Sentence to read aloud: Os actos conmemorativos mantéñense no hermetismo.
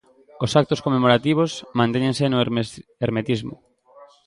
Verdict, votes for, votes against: rejected, 1, 2